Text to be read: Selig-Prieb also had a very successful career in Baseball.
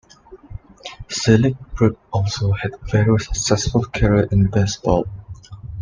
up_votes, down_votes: 2, 0